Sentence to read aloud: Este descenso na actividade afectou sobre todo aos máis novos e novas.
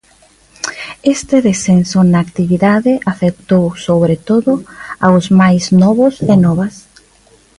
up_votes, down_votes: 2, 0